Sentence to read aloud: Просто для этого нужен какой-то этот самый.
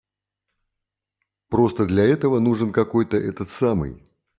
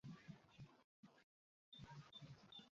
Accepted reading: first